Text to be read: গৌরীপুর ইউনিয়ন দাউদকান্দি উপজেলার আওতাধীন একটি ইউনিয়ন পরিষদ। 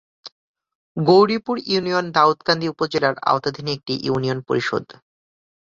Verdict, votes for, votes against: accepted, 5, 0